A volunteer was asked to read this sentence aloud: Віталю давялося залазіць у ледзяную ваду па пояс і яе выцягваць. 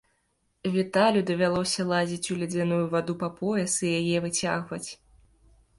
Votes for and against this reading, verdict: 2, 0, accepted